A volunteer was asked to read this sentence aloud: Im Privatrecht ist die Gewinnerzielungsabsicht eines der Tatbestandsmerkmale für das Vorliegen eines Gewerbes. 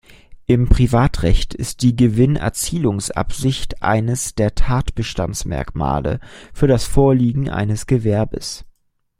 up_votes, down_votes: 2, 0